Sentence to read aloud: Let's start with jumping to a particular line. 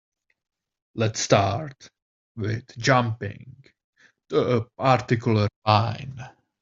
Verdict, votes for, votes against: rejected, 1, 2